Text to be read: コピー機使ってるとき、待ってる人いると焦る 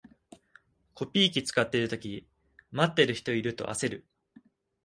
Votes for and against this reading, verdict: 2, 0, accepted